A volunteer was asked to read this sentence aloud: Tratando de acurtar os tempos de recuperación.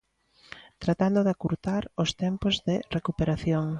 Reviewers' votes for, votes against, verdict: 2, 0, accepted